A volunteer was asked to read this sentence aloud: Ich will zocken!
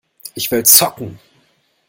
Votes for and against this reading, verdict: 2, 0, accepted